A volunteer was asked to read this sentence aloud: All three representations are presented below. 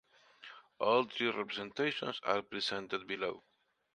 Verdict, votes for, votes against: accepted, 2, 0